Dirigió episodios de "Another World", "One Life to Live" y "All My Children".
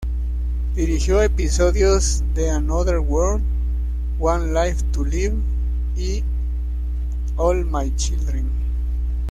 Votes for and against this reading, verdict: 1, 2, rejected